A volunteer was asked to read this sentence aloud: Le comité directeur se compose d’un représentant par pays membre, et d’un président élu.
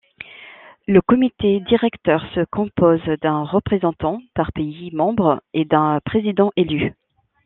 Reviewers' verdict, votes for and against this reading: accepted, 2, 0